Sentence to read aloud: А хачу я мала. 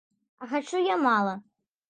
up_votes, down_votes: 2, 0